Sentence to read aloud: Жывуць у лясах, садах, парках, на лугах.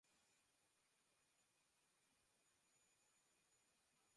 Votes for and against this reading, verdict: 0, 2, rejected